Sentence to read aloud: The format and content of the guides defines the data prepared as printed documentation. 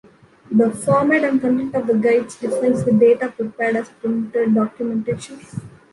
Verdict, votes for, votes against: rejected, 1, 3